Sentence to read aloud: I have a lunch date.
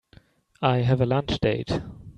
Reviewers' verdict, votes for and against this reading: rejected, 1, 2